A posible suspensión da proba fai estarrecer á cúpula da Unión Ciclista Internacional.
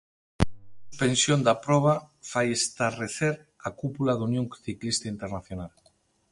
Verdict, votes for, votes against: rejected, 1, 2